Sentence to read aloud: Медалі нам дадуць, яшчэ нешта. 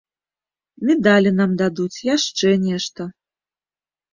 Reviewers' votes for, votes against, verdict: 2, 0, accepted